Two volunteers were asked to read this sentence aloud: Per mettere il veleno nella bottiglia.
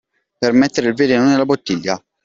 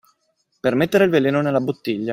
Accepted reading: first